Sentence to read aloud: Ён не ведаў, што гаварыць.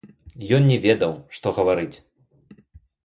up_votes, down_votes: 1, 2